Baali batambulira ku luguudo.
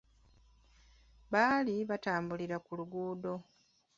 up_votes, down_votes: 2, 1